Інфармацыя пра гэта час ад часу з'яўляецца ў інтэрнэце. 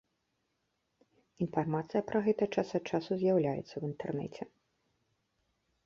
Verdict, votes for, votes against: accepted, 3, 0